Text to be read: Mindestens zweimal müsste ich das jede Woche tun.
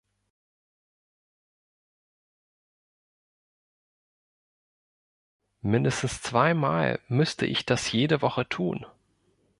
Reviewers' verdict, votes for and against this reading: rejected, 1, 2